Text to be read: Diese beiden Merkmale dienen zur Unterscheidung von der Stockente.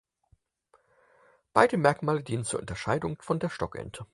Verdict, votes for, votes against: rejected, 2, 4